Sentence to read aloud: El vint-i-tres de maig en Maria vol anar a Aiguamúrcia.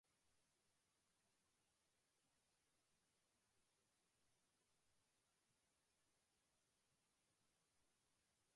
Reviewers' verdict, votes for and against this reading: rejected, 0, 2